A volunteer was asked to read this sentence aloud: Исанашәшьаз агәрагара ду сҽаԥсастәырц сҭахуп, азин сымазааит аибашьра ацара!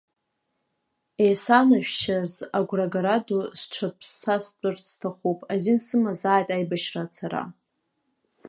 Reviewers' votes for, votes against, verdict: 2, 0, accepted